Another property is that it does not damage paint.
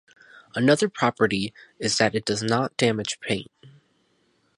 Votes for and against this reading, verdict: 4, 0, accepted